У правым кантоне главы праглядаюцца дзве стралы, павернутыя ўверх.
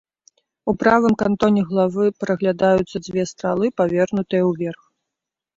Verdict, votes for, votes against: accepted, 2, 0